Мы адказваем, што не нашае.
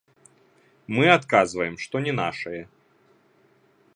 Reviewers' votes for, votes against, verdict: 0, 2, rejected